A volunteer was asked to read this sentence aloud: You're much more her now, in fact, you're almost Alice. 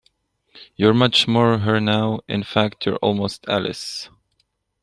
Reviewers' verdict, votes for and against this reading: accepted, 2, 0